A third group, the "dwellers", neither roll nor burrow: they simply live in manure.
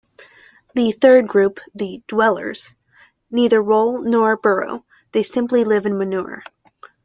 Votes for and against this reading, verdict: 1, 2, rejected